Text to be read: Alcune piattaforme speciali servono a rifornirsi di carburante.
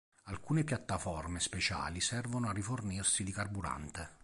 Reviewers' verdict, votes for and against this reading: accepted, 2, 0